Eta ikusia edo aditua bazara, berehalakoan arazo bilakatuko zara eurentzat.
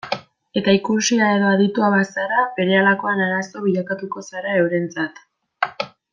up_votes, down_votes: 2, 0